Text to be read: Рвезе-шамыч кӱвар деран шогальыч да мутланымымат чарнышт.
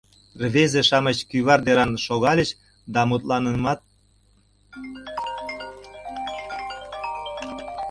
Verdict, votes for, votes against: rejected, 0, 2